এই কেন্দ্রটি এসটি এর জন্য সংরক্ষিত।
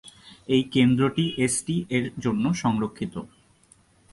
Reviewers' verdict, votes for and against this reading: accepted, 2, 0